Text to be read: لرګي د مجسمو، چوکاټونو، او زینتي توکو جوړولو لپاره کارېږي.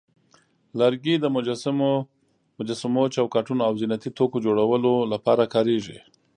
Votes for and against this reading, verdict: 1, 2, rejected